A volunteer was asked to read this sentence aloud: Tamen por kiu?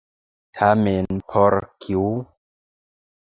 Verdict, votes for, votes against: accepted, 2, 0